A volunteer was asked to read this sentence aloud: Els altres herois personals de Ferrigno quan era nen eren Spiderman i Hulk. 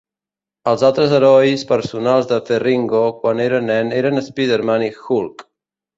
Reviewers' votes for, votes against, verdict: 0, 2, rejected